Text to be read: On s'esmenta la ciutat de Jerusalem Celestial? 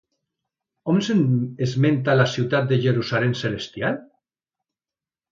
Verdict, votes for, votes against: rejected, 0, 2